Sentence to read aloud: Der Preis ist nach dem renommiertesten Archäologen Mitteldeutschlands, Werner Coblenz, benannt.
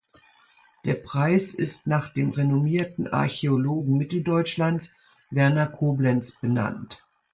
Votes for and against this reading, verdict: 0, 2, rejected